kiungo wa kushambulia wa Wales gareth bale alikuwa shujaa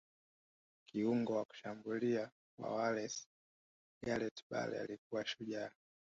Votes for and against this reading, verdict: 2, 0, accepted